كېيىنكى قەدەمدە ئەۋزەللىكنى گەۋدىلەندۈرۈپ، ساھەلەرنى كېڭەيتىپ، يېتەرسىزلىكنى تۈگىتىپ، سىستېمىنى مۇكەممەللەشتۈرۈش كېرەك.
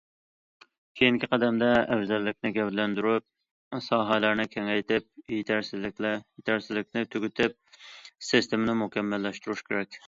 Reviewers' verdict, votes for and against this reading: rejected, 1, 2